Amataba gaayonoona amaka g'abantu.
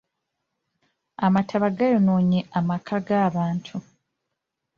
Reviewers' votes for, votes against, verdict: 1, 2, rejected